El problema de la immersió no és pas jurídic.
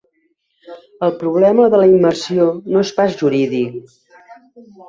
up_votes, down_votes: 2, 0